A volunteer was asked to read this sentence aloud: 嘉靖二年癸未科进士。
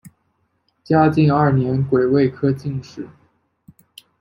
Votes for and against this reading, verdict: 2, 1, accepted